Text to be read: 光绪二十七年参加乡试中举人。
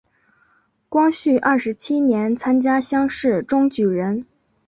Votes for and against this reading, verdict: 2, 0, accepted